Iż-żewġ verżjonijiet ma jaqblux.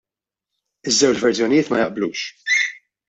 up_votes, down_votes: 1, 2